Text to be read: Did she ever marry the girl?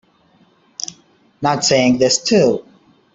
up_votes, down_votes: 0, 2